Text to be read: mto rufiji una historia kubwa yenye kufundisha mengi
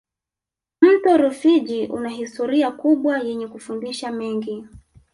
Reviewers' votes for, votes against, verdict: 2, 0, accepted